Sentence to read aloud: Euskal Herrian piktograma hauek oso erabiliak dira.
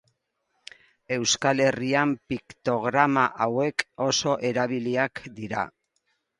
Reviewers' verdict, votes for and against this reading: accepted, 2, 0